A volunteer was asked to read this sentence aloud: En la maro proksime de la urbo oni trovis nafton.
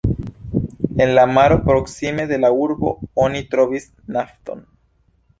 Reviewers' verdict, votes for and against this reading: accepted, 2, 0